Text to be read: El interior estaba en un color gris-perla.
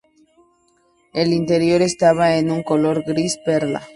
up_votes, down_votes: 2, 0